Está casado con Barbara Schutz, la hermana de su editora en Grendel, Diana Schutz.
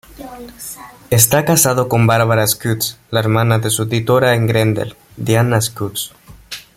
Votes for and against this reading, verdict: 3, 1, accepted